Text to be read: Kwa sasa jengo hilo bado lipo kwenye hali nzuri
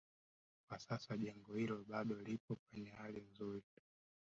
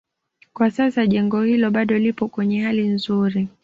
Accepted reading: second